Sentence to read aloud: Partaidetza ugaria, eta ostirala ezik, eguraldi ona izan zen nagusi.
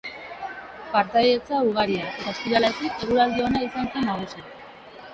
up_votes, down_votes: 0, 2